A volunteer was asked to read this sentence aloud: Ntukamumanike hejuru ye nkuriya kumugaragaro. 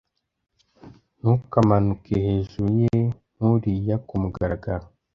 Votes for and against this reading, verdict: 1, 2, rejected